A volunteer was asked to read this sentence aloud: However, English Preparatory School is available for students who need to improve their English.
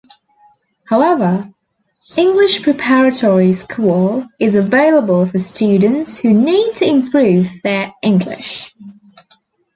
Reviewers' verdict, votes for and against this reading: accepted, 2, 0